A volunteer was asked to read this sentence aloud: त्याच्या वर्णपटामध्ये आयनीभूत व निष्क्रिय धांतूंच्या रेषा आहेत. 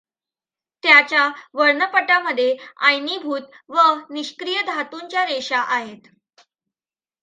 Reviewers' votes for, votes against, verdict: 2, 0, accepted